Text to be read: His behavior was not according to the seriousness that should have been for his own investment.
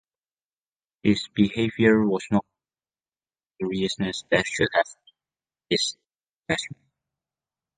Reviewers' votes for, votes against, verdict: 0, 2, rejected